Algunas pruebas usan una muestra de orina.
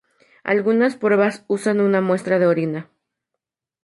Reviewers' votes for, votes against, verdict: 2, 2, rejected